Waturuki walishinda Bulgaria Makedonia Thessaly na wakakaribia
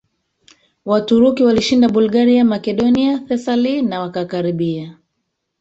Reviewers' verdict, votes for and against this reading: rejected, 1, 2